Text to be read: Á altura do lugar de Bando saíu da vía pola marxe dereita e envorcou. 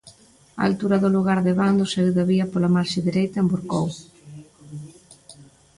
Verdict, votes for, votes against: accepted, 2, 0